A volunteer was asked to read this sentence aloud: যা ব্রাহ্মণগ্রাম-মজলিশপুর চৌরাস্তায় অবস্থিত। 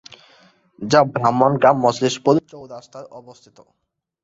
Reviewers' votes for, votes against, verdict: 2, 1, accepted